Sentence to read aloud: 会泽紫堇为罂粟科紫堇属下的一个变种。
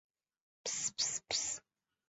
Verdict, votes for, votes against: rejected, 0, 5